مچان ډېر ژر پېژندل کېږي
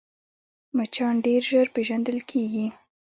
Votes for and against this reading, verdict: 2, 0, accepted